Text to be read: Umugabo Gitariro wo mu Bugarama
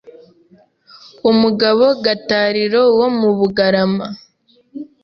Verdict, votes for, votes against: rejected, 0, 2